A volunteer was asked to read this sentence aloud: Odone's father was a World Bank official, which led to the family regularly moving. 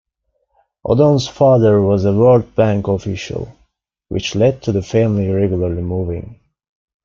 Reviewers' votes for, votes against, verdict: 3, 0, accepted